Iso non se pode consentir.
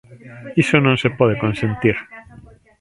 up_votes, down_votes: 1, 2